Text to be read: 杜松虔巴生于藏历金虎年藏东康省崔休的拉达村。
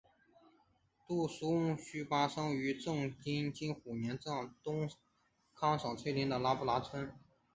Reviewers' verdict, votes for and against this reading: accepted, 2, 0